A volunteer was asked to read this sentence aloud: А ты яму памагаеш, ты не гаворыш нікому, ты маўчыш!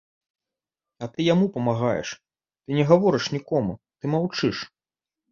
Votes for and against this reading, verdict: 3, 0, accepted